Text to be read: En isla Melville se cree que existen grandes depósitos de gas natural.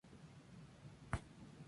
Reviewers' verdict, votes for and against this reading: rejected, 0, 2